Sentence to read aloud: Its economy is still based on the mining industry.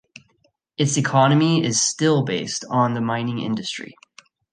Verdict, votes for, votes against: accepted, 3, 0